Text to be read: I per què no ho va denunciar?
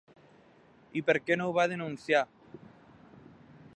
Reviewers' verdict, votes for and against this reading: accepted, 3, 0